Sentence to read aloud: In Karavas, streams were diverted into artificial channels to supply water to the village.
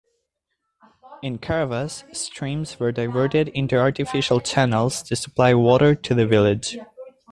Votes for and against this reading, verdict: 1, 2, rejected